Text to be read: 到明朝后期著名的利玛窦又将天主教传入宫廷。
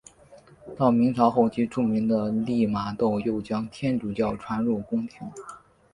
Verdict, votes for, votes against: accepted, 3, 1